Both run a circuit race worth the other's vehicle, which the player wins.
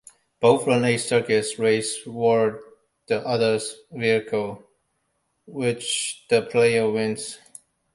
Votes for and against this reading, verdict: 1, 2, rejected